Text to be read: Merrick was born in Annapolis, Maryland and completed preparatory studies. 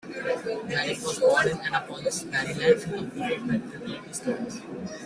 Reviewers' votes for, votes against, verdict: 0, 2, rejected